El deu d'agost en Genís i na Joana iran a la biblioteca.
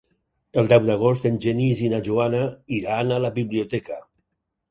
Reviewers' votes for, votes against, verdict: 4, 0, accepted